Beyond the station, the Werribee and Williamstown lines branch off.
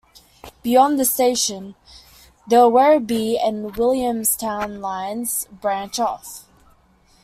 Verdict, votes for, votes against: accepted, 3, 0